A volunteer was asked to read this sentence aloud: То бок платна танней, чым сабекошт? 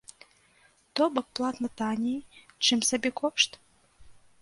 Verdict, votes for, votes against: rejected, 1, 2